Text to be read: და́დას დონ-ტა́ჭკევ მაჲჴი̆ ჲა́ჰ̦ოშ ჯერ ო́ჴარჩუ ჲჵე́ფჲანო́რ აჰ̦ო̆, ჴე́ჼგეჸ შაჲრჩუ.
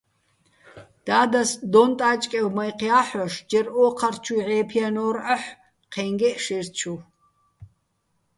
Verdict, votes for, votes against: accepted, 2, 0